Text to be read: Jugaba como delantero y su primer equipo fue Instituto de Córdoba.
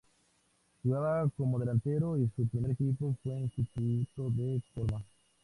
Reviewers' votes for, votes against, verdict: 0, 2, rejected